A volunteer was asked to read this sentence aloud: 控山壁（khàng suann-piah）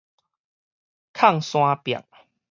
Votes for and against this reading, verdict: 4, 0, accepted